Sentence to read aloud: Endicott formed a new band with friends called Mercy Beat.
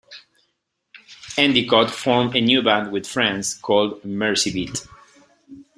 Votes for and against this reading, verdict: 2, 0, accepted